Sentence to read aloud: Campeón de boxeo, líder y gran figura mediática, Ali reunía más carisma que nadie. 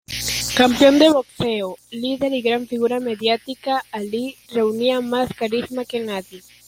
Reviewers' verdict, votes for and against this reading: accepted, 2, 1